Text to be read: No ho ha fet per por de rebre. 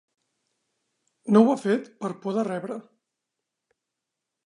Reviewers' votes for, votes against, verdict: 2, 0, accepted